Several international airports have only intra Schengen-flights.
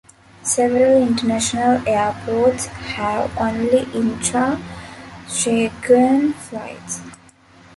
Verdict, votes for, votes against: rejected, 0, 2